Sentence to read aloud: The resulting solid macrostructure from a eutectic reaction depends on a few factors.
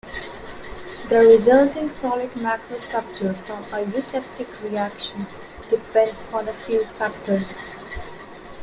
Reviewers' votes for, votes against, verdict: 2, 0, accepted